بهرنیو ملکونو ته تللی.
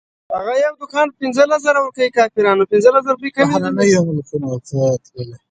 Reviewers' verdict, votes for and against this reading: rejected, 1, 2